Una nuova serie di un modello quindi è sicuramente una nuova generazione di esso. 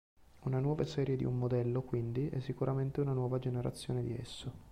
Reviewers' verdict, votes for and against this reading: accepted, 3, 0